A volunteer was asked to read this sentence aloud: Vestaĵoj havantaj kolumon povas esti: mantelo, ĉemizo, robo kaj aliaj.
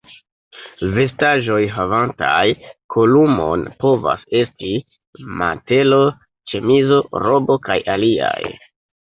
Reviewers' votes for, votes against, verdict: 1, 2, rejected